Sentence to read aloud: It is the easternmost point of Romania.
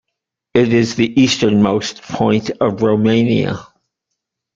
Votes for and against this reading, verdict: 2, 0, accepted